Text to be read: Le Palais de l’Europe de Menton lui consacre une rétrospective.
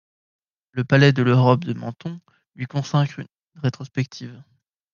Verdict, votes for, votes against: rejected, 0, 2